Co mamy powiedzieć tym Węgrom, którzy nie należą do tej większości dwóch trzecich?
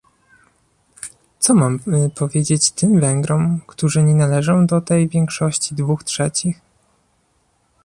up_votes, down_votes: 2, 0